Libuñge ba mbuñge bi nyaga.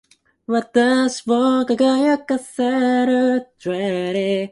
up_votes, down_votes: 1, 2